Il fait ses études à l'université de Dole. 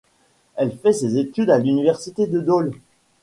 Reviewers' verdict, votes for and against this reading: rejected, 1, 2